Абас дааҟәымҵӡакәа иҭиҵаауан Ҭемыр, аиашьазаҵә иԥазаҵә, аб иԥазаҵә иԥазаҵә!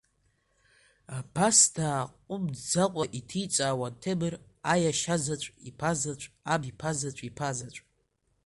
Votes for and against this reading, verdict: 1, 2, rejected